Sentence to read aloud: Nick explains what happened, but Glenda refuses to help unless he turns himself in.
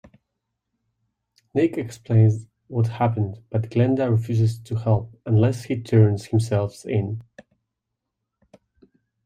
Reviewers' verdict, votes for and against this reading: accepted, 3, 2